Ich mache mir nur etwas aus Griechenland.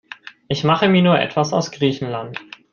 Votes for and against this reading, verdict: 2, 0, accepted